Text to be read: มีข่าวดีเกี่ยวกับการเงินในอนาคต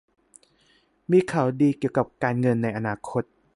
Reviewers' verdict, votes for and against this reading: accepted, 2, 0